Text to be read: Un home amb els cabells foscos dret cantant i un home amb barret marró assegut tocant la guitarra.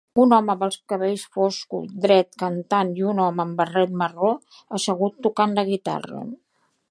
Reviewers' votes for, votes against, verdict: 3, 0, accepted